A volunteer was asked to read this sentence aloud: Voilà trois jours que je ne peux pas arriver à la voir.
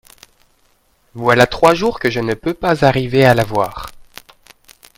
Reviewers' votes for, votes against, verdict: 2, 0, accepted